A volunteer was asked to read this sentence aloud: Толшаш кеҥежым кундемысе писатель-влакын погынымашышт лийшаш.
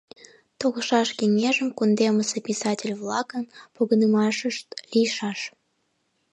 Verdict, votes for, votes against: accepted, 2, 0